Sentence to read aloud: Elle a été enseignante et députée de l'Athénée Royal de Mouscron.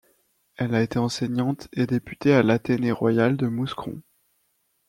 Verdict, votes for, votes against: rejected, 0, 2